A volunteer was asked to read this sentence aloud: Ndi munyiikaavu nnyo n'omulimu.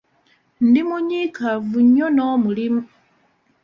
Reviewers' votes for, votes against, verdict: 2, 0, accepted